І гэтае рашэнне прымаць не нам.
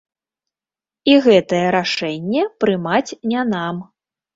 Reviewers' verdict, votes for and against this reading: rejected, 1, 2